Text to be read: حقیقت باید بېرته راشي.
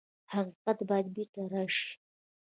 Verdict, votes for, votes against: rejected, 0, 2